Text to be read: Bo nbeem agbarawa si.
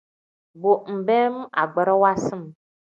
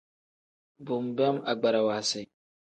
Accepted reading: second